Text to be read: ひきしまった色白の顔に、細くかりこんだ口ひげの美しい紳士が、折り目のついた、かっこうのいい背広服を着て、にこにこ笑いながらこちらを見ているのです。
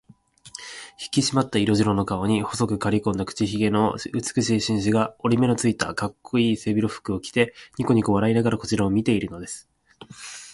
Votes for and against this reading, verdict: 1, 2, rejected